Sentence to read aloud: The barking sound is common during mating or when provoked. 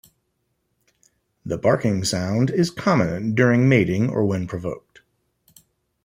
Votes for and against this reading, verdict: 2, 0, accepted